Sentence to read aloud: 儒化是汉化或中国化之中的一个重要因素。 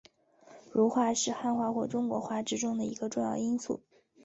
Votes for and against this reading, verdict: 5, 0, accepted